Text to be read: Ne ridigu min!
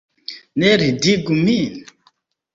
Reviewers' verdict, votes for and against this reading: rejected, 1, 2